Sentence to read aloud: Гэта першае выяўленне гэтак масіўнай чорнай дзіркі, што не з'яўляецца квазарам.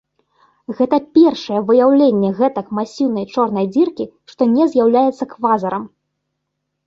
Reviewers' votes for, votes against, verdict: 0, 2, rejected